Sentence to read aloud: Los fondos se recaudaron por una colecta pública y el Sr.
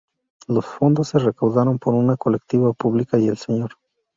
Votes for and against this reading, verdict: 0, 2, rejected